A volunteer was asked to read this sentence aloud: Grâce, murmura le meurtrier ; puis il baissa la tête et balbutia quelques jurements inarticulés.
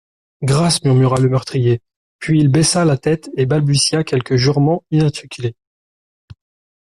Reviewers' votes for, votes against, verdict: 0, 2, rejected